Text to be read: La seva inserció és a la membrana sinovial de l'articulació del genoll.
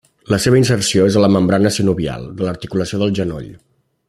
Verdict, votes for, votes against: accepted, 2, 0